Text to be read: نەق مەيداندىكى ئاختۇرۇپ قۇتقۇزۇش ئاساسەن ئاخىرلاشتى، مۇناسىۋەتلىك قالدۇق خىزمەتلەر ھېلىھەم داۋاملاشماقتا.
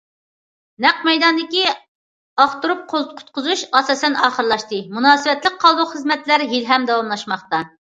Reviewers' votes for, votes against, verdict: 0, 2, rejected